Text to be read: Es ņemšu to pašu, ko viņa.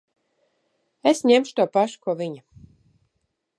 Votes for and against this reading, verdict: 2, 1, accepted